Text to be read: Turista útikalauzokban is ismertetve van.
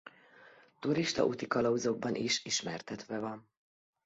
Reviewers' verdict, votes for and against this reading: accepted, 2, 0